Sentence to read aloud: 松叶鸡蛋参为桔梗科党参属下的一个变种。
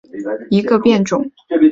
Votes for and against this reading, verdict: 1, 2, rejected